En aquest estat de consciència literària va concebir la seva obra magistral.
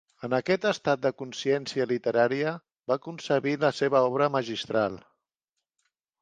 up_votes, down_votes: 3, 0